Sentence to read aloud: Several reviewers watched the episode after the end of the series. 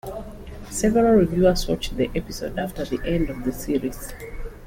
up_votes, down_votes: 2, 0